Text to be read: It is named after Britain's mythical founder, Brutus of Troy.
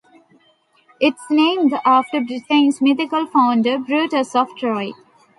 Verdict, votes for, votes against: rejected, 1, 2